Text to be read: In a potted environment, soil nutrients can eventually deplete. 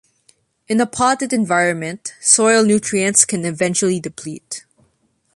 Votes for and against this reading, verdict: 2, 0, accepted